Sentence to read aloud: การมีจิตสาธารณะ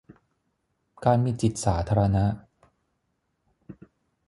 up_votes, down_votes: 6, 0